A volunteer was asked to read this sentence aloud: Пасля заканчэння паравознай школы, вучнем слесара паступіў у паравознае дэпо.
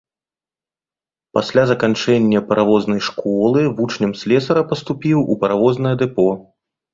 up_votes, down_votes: 2, 0